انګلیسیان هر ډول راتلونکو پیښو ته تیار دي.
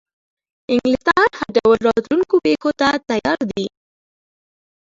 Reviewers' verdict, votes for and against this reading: rejected, 1, 2